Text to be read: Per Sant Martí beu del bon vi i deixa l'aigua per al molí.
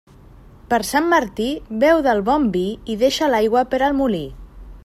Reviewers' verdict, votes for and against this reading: accepted, 3, 0